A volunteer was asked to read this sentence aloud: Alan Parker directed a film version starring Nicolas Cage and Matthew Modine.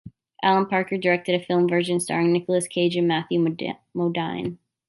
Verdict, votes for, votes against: rejected, 1, 2